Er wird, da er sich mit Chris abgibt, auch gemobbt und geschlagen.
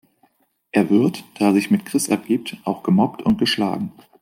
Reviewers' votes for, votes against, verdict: 2, 0, accepted